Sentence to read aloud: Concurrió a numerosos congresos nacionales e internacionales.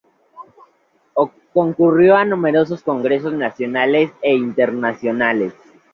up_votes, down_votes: 2, 0